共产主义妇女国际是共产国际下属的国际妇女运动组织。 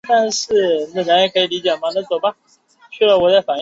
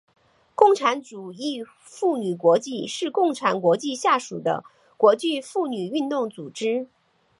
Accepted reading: second